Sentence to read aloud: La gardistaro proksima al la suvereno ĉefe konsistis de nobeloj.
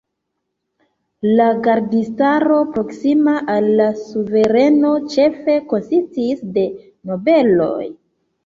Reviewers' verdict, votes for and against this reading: accepted, 3, 0